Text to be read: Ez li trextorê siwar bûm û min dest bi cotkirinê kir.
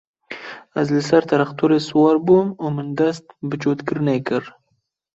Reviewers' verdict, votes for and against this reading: rejected, 0, 2